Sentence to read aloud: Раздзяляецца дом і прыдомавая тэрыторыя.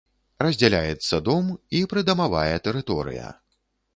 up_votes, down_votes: 2, 3